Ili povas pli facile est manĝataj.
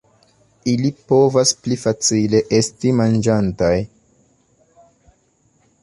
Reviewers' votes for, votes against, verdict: 1, 2, rejected